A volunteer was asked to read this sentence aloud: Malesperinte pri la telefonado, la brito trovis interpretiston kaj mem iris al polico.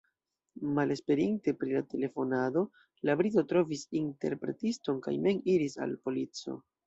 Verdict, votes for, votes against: accepted, 2, 0